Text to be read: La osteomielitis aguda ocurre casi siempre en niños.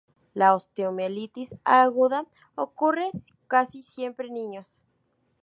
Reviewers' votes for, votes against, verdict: 0, 2, rejected